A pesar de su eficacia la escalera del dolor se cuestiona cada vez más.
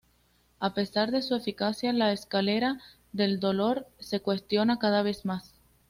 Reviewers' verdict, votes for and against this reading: accepted, 2, 0